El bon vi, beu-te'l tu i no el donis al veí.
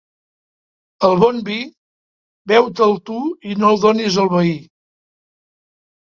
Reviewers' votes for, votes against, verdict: 3, 0, accepted